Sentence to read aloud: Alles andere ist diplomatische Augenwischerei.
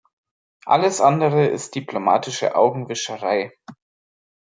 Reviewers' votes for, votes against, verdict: 3, 0, accepted